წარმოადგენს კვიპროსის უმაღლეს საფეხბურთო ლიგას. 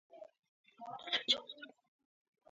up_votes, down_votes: 0, 2